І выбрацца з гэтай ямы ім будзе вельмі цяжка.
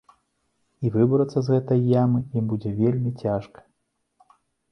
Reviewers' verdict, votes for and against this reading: accepted, 2, 0